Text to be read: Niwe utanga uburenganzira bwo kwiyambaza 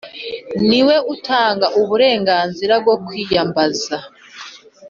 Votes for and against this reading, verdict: 2, 0, accepted